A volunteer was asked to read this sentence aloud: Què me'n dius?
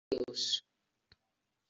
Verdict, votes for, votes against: rejected, 0, 2